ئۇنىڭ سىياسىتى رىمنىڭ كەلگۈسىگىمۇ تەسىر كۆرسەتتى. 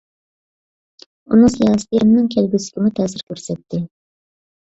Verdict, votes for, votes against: rejected, 1, 2